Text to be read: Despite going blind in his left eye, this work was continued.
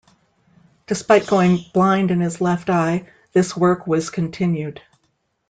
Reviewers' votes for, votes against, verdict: 2, 0, accepted